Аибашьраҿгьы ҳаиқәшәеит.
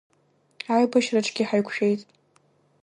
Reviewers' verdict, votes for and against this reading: accepted, 2, 1